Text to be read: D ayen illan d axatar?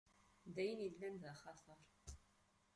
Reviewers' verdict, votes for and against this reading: accepted, 2, 1